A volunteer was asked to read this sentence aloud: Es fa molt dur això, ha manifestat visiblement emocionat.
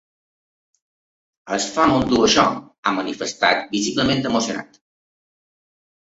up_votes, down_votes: 2, 0